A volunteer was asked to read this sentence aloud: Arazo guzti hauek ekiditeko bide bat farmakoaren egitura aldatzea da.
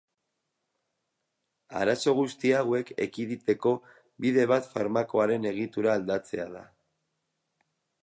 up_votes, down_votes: 2, 2